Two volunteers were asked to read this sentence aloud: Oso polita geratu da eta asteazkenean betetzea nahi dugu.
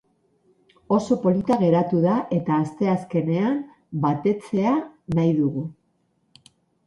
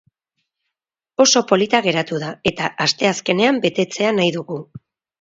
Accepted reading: second